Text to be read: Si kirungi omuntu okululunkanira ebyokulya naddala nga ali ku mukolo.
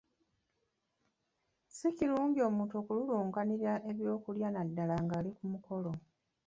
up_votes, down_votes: 1, 2